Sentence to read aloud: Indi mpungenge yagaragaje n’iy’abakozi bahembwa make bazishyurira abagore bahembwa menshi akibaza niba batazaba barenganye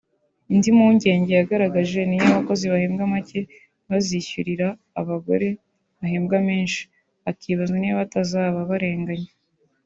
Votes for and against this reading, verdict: 3, 0, accepted